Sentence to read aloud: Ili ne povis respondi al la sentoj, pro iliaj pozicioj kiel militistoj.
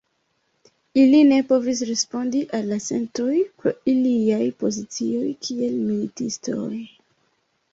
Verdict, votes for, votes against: accepted, 2, 1